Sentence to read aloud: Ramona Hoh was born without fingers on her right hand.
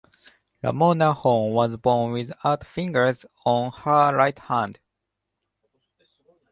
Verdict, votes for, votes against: accepted, 2, 1